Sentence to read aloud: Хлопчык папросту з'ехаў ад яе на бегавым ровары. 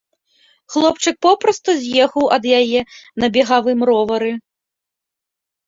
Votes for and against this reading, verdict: 1, 2, rejected